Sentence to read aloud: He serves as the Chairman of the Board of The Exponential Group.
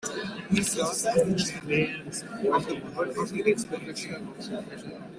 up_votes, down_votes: 0, 2